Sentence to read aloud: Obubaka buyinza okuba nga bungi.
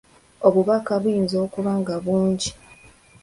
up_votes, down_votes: 2, 0